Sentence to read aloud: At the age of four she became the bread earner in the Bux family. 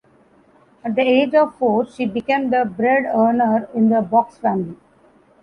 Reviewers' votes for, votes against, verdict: 2, 1, accepted